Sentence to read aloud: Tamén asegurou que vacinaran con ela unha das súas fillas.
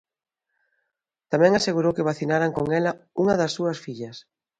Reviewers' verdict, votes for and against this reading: accepted, 2, 0